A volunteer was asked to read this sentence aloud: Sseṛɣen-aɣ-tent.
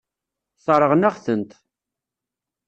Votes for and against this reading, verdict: 2, 0, accepted